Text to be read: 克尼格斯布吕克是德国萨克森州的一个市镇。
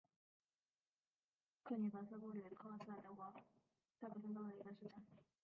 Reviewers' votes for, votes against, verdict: 0, 5, rejected